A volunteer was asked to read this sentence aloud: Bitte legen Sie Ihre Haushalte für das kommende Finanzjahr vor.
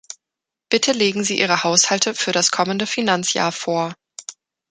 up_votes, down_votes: 0, 2